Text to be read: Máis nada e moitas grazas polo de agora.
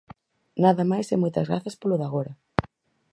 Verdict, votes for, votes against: rejected, 0, 4